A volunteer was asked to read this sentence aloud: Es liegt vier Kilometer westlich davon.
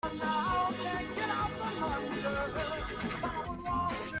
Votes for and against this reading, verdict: 0, 2, rejected